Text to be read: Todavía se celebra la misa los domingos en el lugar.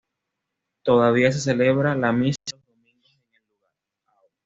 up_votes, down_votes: 0, 2